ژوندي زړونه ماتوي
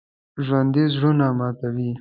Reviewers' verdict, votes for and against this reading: accepted, 3, 0